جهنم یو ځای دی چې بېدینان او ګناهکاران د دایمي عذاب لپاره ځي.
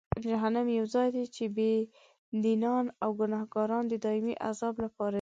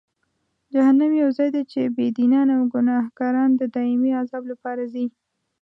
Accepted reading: first